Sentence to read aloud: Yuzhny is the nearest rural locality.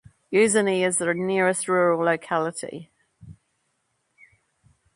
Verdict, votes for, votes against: accepted, 2, 0